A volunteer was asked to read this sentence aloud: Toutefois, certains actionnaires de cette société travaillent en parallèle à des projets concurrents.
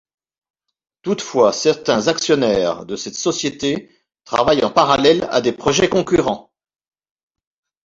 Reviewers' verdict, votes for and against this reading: accepted, 2, 0